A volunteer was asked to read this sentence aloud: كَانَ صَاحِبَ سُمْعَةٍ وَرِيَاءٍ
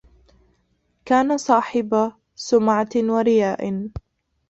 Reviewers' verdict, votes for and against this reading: rejected, 0, 2